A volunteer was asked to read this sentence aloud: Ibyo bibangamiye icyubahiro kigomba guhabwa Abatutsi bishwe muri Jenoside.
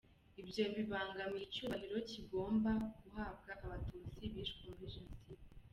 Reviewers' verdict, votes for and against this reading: accepted, 2, 0